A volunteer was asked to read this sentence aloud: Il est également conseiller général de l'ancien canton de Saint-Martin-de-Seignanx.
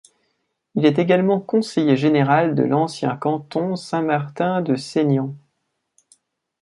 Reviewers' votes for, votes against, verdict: 0, 2, rejected